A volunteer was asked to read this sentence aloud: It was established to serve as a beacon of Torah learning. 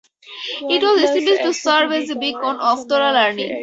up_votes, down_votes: 0, 2